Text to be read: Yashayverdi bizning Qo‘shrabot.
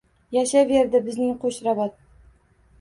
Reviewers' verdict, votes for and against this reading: accepted, 2, 0